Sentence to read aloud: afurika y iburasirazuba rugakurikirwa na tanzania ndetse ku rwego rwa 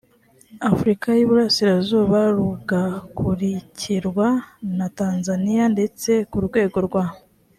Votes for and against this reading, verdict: 2, 0, accepted